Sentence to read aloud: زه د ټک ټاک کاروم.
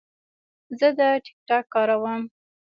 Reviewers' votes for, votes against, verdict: 1, 2, rejected